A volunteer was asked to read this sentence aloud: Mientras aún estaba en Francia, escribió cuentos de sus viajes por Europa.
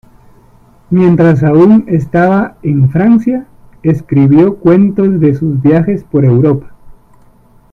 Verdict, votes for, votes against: accepted, 2, 1